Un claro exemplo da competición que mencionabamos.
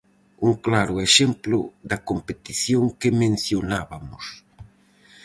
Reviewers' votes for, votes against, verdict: 0, 4, rejected